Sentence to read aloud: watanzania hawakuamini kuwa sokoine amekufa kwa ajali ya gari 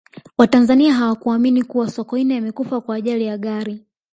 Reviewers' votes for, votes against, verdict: 2, 0, accepted